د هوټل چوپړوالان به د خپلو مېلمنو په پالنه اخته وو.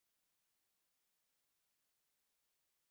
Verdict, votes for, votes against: accepted, 2, 1